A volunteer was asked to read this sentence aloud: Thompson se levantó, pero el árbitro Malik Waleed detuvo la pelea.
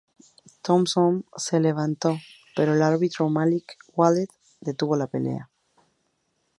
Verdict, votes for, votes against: accepted, 2, 0